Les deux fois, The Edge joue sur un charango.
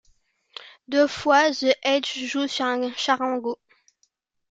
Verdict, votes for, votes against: rejected, 1, 2